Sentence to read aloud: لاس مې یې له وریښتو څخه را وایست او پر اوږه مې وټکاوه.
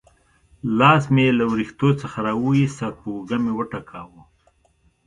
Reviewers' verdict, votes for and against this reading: accepted, 2, 0